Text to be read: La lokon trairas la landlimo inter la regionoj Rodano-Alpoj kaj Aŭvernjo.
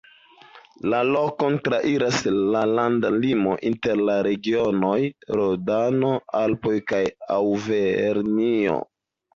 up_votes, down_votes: 1, 3